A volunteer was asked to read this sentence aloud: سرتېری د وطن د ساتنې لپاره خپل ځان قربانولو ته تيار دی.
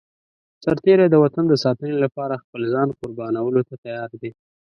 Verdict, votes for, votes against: accepted, 2, 0